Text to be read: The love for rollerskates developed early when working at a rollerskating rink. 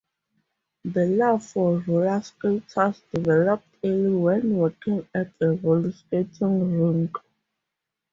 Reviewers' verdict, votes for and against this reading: rejected, 2, 4